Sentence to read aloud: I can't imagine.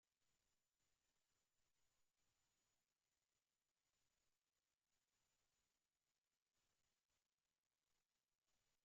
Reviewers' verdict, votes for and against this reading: rejected, 0, 2